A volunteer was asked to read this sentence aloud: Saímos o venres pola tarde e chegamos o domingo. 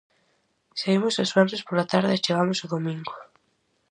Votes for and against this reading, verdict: 2, 2, rejected